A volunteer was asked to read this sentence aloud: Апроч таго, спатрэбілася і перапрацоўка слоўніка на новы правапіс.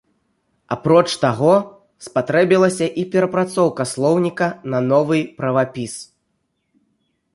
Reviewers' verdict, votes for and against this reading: rejected, 1, 3